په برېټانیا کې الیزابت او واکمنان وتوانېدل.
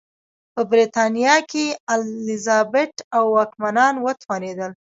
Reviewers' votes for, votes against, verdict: 1, 2, rejected